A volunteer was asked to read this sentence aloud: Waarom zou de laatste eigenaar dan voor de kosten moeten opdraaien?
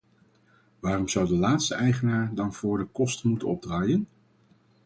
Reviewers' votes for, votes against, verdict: 4, 2, accepted